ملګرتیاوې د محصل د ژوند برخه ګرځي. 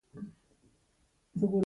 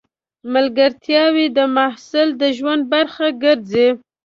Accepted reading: second